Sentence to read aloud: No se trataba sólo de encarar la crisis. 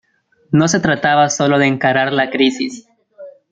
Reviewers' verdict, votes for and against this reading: accepted, 2, 1